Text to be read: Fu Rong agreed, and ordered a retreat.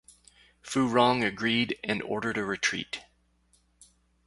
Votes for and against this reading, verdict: 4, 2, accepted